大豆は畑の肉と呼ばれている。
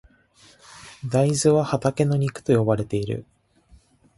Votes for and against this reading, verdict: 0, 2, rejected